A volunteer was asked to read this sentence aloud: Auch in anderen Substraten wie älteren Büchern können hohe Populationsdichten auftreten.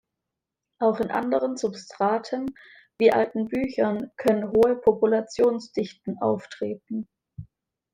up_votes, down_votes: 1, 2